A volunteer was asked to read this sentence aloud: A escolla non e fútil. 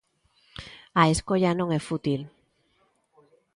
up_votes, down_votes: 2, 0